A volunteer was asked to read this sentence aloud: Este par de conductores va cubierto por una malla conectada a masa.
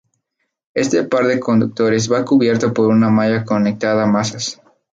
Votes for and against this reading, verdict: 2, 0, accepted